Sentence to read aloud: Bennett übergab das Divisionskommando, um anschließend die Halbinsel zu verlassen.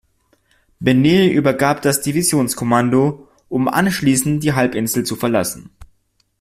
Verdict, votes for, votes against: rejected, 0, 2